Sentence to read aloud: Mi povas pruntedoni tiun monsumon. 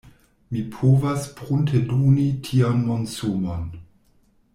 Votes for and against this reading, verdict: 1, 2, rejected